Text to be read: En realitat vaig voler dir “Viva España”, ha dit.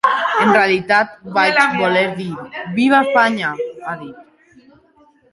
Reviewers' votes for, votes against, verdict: 0, 2, rejected